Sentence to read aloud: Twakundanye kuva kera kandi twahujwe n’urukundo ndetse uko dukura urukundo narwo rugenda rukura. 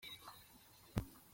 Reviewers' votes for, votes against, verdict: 0, 2, rejected